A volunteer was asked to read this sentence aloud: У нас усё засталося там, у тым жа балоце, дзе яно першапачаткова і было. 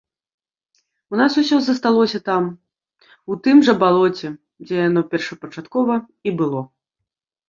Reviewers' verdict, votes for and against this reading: accepted, 2, 1